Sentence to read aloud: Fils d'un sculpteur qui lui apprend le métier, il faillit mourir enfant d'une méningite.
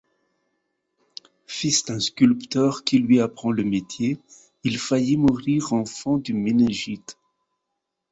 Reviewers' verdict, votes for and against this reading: rejected, 0, 2